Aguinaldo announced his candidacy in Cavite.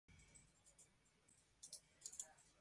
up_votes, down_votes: 0, 2